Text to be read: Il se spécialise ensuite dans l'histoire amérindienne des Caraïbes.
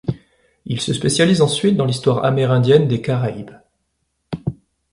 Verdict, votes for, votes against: accepted, 2, 0